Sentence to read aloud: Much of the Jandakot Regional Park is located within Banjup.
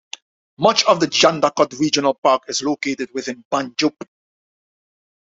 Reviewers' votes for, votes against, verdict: 2, 0, accepted